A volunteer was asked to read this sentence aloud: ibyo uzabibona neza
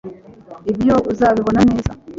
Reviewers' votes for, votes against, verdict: 2, 0, accepted